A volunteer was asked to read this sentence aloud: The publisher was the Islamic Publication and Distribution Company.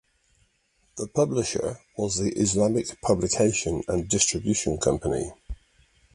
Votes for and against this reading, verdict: 2, 0, accepted